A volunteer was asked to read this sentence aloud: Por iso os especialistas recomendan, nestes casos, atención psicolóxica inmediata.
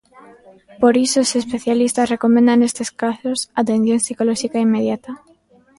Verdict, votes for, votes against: accepted, 2, 1